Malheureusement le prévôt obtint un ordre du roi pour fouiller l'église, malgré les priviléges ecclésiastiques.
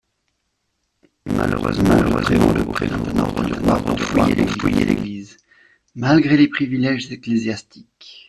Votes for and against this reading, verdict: 0, 2, rejected